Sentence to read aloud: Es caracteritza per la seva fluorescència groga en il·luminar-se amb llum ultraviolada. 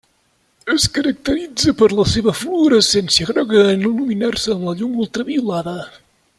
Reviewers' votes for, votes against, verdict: 0, 2, rejected